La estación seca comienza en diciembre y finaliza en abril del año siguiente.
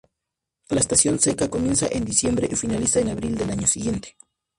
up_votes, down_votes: 0, 4